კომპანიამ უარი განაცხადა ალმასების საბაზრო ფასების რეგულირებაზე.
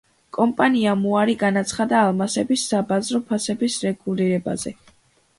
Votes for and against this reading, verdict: 2, 0, accepted